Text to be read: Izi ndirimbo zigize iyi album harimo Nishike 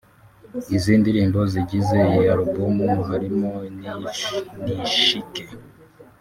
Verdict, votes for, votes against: rejected, 0, 2